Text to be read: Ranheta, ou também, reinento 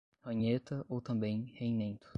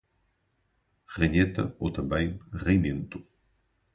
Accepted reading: second